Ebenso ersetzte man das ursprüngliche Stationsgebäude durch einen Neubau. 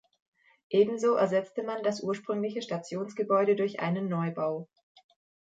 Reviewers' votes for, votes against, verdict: 2, 0, accepted